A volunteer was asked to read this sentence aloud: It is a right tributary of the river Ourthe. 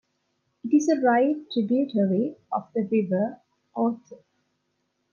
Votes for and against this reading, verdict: 2, 0, accepted